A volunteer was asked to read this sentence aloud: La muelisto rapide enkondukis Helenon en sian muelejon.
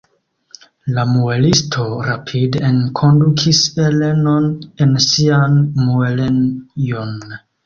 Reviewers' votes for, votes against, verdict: 0, 2, rejected